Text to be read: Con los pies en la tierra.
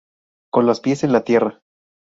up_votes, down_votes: 2, 2